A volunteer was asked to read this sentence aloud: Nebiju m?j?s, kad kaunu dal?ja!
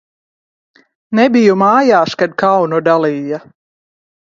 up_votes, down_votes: 1, 2